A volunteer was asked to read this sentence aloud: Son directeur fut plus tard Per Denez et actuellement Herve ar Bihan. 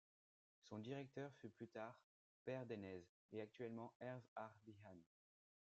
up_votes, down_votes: 2, 0